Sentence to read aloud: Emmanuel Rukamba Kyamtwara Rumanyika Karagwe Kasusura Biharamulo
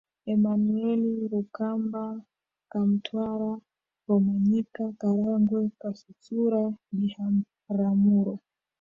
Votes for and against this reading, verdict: 0, 2, rejected